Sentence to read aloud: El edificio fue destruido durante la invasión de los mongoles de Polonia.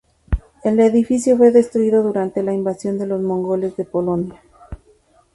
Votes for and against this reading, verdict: 2, 0, accepted